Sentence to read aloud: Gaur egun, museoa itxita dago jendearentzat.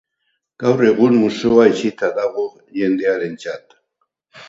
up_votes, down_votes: 0, 2